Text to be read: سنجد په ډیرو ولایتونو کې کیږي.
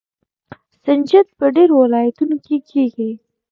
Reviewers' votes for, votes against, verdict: 2, 0, accepted